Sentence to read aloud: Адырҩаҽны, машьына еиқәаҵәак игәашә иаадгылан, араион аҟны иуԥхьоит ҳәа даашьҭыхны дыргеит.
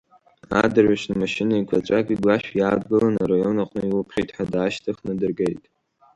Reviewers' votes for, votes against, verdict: 0, 2, rejected